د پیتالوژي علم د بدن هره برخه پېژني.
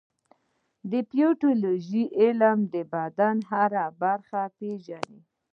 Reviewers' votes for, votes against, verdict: 1, 2, rejected